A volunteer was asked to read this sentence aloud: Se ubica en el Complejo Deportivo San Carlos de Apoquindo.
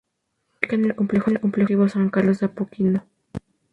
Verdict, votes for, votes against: rejected, 0, 2